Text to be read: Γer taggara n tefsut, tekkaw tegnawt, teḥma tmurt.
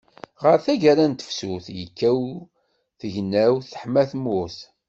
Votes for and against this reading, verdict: 1, 2, rejected